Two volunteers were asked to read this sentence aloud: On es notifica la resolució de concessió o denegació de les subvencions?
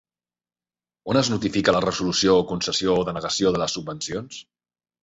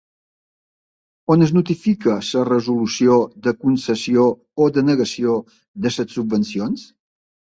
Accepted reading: first